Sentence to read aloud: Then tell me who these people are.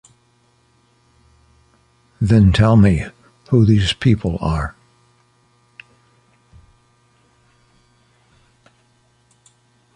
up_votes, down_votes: 2, 0